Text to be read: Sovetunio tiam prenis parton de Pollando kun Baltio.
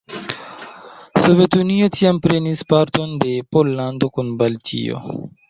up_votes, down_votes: 2, 0